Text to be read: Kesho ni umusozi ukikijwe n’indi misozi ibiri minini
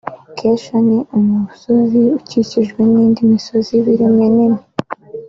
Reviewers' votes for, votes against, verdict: 0, 2, rejected